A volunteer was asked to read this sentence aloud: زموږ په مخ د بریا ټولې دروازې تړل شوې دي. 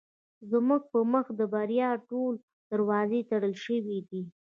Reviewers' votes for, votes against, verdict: 0, 2, rejected